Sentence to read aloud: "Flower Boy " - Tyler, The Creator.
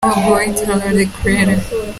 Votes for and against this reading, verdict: 0, 2, rejected